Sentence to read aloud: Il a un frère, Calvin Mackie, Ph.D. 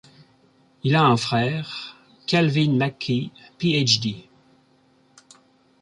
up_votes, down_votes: 2, 0